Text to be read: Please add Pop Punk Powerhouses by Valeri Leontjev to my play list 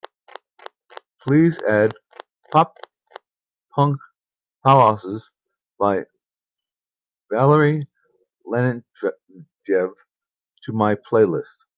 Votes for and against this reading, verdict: 1, 2, rejected